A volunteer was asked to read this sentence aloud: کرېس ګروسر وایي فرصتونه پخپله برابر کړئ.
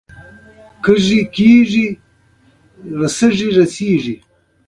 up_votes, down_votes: 2, 1